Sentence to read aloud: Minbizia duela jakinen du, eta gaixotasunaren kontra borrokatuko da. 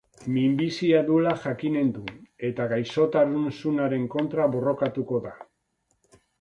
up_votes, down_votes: 1, 2